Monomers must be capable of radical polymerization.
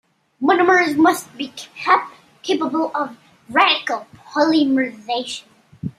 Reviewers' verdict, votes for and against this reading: rejected, 0, 2